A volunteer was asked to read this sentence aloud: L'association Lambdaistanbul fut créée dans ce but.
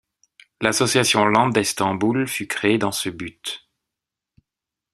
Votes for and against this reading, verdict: 2, 0, accepted